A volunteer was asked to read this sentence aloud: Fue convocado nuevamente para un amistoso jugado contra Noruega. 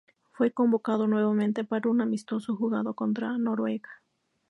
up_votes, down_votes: 2, 0